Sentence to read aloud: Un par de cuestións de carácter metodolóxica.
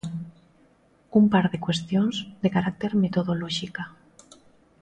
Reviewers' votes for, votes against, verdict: 2, 0, accepted